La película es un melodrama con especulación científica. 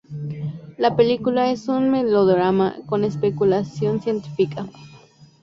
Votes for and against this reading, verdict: 2, 0, accepted